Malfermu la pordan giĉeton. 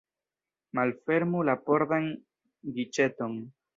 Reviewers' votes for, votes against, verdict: 1, 2, rejected